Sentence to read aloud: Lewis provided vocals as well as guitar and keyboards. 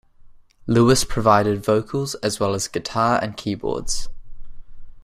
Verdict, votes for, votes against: accepted, 2, 0